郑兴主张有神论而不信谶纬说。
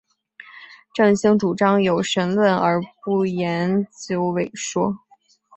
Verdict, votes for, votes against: rejected, 0, 2